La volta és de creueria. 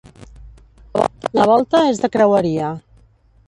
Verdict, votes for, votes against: rejected, 1, 2